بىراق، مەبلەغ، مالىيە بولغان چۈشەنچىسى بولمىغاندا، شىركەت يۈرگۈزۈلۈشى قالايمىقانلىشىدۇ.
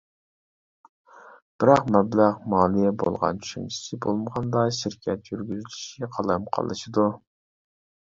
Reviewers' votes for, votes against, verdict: 0, 2, rejected